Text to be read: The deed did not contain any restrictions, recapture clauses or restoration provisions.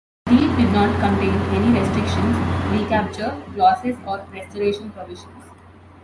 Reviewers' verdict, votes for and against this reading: accepted, 3, 1